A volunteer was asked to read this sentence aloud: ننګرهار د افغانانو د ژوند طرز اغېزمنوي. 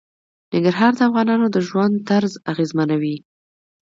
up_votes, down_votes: 1, 2